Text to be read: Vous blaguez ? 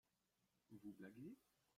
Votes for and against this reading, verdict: 0, 2, rejected